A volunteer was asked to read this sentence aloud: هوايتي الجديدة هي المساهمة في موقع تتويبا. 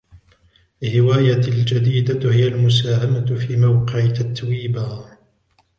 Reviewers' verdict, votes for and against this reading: rejected, 0, 2